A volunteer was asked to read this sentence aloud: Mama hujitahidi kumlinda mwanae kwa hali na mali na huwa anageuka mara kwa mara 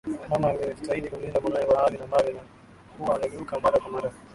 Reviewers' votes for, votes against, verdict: 5, 7, rejected